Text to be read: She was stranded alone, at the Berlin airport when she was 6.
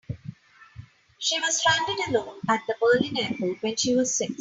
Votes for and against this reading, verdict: 0, 2, rejected